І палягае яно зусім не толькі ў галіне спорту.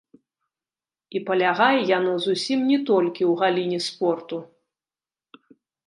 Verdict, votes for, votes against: rejected, 1, 2